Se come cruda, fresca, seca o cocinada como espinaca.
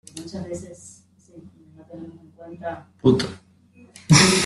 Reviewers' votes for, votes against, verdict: 0, 2, rejected